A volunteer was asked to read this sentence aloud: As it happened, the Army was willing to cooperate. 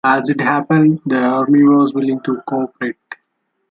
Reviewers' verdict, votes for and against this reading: accepted, 2, 1